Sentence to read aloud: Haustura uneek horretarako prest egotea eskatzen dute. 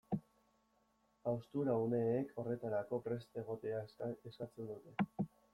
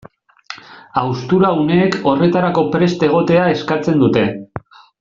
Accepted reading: second